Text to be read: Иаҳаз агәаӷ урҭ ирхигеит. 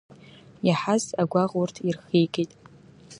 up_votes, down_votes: 2, 0